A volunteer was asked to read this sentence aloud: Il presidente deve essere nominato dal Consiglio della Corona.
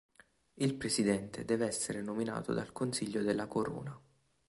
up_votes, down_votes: 3, 0